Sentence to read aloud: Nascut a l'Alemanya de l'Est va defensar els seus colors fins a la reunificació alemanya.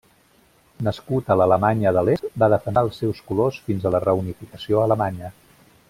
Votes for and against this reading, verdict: 0, 2, rejected